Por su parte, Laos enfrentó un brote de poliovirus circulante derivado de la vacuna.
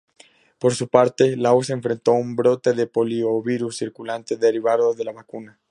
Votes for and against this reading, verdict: 2, 0, accepted